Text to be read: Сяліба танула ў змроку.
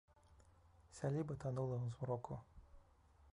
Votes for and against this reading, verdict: 1, 2, rejected